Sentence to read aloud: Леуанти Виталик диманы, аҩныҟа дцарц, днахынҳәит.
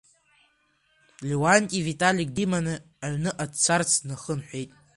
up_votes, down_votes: 0, 2